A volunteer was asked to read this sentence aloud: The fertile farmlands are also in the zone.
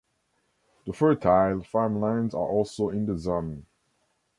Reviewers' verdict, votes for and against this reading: accepted, 2, 0